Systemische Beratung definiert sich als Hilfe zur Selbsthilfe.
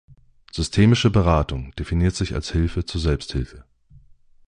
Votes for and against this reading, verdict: 2, 0, accepted